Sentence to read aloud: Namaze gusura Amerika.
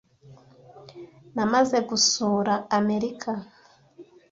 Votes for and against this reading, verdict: 2, 0, accepted